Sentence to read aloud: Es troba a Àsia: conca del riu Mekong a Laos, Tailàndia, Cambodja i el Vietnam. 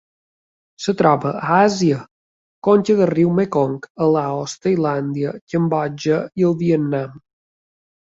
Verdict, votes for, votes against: rejected, 0, 2